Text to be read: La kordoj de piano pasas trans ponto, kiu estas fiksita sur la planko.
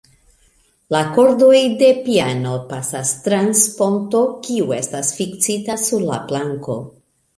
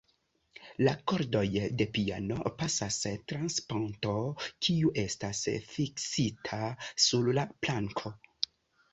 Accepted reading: second